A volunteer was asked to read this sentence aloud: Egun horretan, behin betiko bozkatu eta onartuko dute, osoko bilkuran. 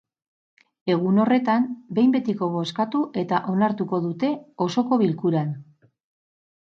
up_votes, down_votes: 4, 0